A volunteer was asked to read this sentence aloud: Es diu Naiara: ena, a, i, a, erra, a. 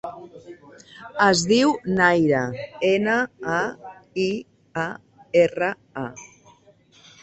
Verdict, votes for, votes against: rejected, 0, 3